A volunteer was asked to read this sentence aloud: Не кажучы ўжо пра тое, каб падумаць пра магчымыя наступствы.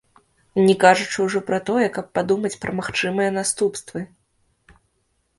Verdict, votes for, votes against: rejected, 1, 2